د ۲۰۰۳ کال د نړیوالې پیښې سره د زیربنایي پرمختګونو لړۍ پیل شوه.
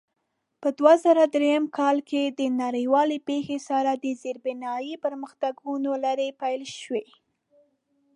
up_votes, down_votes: 0, 2